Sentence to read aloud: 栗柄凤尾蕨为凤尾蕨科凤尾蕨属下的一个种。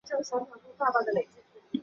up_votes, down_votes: 0, 5